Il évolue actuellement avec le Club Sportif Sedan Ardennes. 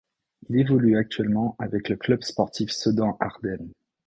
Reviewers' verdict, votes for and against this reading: accepted, 2, 0